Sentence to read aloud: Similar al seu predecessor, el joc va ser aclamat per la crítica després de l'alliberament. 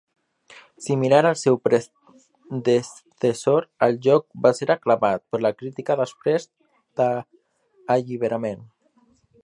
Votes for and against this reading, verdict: 0, 3, rejected